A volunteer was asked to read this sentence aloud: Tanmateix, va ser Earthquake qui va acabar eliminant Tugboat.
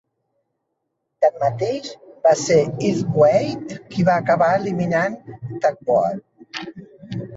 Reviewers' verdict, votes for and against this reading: rejected, 1, 2